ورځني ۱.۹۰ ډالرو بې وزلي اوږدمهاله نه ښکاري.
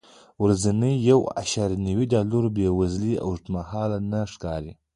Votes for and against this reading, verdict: 0, 2, rejected